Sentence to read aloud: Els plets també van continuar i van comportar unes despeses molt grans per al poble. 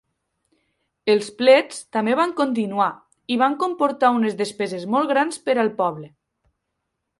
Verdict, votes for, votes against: accepted, 2, 0